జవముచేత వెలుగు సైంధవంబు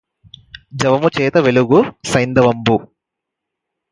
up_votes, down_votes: 4, 0